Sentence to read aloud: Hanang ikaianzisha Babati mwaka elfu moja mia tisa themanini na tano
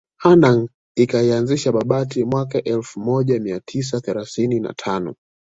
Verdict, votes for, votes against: accepted, 2, 0